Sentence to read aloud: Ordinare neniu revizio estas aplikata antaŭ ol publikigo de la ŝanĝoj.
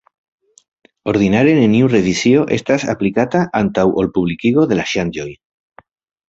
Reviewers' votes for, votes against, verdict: 2, 0, accepted